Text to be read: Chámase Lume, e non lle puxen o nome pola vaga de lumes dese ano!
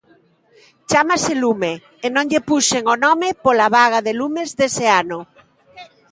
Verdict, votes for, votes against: accepted, 2, 0